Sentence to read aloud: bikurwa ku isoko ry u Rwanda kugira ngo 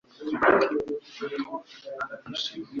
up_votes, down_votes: 1, 2